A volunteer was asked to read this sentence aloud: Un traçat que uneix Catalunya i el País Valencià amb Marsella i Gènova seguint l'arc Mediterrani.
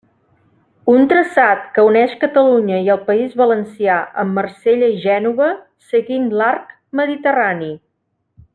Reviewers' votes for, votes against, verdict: 3, 0, accepted